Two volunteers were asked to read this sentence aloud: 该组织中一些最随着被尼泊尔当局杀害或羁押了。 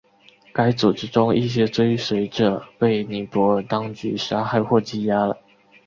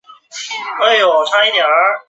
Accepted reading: first